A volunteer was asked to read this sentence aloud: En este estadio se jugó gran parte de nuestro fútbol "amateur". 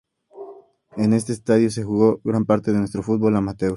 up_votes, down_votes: 2, 0